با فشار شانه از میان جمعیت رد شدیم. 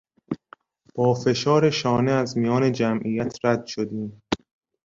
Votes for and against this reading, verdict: 2, 0, accepted